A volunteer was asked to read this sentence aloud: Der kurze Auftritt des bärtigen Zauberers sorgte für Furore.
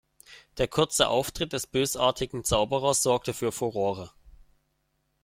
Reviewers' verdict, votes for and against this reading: rejected, 0, 2